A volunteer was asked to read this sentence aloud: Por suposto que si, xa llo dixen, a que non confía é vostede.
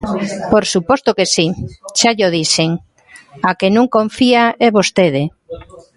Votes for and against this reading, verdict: 1, 2, rejected